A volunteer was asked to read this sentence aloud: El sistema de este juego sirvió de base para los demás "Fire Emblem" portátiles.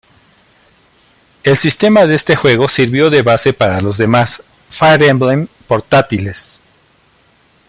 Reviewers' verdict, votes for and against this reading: accepted, 2, 0